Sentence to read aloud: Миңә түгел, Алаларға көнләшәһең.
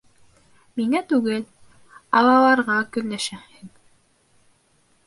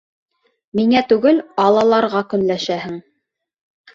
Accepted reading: second